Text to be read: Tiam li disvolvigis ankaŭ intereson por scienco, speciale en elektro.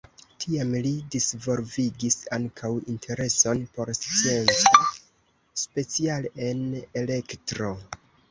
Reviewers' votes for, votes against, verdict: 0, 2, rejected